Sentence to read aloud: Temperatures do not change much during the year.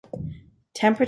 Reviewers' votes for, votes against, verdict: 0, 2, rejected